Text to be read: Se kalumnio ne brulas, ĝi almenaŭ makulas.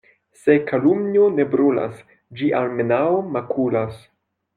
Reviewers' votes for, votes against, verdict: 0, 2, rejected